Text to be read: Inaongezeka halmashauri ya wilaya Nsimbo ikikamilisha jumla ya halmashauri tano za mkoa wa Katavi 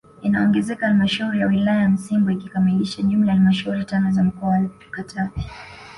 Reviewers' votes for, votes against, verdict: 2, 1, accepted